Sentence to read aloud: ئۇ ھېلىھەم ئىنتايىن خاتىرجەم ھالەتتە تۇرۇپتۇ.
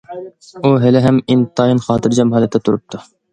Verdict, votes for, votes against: accepted, 2, 0